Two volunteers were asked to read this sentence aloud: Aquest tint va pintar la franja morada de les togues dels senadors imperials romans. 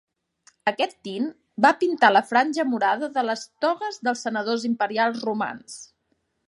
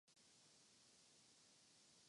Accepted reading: first